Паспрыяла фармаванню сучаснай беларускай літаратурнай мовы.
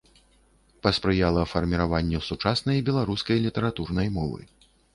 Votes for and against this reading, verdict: 0, 2, rejected